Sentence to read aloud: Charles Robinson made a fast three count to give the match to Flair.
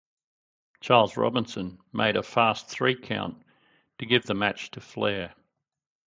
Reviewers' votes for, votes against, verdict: 6, 0, accepted